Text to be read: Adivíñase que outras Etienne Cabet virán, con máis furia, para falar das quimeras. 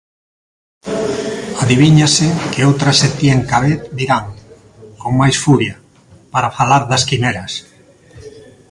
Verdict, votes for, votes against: accepted, 2, 1